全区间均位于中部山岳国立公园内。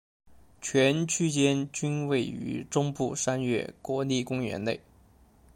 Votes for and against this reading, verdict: 2, 0, accepted